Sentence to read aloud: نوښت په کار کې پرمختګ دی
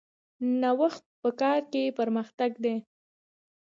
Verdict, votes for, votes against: rejected, 1, 2